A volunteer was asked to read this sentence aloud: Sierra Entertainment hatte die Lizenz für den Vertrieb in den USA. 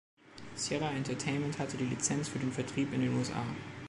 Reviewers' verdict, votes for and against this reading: accepted, 2, 0